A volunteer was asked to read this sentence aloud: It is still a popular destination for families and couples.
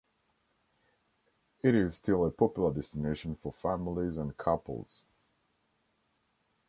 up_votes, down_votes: 2, 0